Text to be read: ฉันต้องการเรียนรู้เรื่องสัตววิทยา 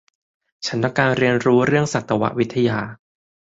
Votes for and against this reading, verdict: 4, 0, accepted